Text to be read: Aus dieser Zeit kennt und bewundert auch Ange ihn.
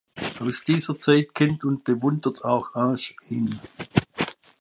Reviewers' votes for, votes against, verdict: 0, 2, rejected